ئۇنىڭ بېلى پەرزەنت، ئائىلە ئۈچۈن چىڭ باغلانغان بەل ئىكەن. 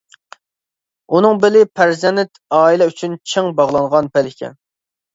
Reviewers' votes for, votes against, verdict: 1, 2, rejected